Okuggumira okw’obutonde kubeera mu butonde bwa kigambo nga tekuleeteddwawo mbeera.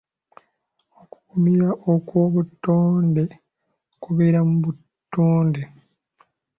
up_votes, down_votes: 1, 2